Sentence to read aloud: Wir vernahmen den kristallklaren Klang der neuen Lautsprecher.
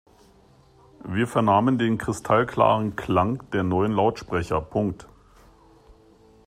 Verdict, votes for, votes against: rejected, 0, 3